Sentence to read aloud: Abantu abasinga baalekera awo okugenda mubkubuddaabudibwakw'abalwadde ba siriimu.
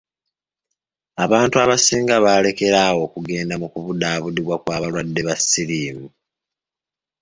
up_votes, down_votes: 2, 1